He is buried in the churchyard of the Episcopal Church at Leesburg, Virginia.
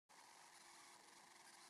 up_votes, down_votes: 0, 2